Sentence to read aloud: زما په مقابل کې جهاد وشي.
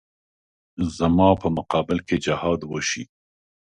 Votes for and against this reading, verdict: 2, 0, accepted